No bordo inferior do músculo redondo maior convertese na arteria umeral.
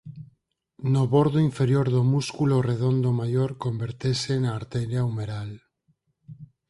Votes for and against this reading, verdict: 4, 2, accepted